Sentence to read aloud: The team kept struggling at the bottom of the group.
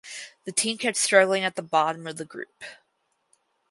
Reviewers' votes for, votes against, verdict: 4, 0, accepted